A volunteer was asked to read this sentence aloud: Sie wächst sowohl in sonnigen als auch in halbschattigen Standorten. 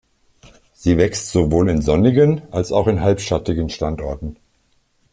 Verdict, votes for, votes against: accepted, 2, 0